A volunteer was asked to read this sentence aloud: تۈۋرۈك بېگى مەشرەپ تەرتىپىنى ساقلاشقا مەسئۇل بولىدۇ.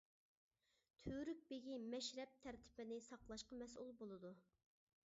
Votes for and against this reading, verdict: 2, 0, accepted